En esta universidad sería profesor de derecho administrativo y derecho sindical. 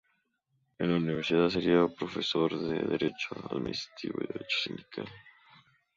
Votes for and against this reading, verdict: 0, 2, rejected